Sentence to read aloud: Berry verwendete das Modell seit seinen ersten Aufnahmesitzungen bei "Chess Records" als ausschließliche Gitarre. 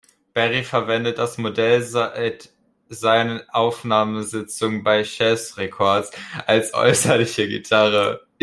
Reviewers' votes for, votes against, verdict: 0, 2, rejected